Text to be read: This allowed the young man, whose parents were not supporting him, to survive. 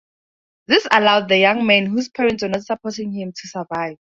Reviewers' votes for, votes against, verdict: 0, 2, rejected